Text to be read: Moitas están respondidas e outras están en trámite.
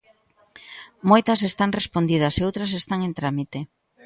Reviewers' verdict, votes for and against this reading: accepted, 2, 0